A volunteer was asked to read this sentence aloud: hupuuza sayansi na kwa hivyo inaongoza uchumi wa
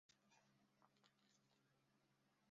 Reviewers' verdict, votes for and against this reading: rejected, 0, 2